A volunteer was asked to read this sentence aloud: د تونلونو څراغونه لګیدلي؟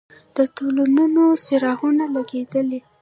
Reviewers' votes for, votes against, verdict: 1, 2, rejected